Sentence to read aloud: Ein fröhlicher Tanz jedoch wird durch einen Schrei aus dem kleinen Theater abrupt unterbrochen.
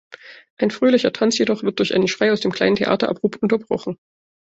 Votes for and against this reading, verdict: 2, 0, accepted